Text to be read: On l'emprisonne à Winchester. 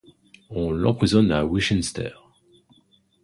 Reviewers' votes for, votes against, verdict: 2, 1, accepted